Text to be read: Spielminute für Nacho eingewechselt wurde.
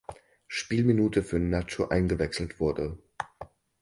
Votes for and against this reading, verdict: 4, 0, accepted